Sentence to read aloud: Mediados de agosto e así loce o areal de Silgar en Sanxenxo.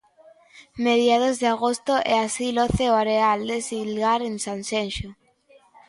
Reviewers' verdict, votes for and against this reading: accepted, 2, 0